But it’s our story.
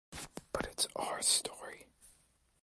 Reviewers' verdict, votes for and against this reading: accepted, 2, 0